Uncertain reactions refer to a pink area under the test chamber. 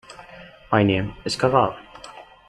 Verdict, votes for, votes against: rejected, 0, 2